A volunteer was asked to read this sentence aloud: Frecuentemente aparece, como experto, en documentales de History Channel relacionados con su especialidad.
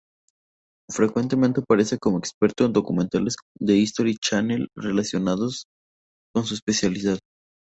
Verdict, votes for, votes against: rejected, 2, 2